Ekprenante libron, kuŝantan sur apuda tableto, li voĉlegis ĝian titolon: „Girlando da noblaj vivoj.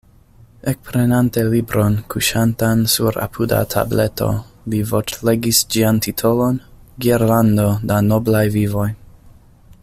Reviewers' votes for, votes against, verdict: 2, 0, accepted